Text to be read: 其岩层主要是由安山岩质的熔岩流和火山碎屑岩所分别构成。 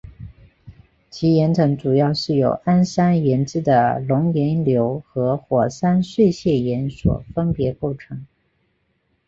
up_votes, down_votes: 1, 2